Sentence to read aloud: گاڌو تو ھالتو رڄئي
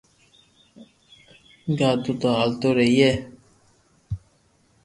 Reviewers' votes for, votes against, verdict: 2, 0, accepted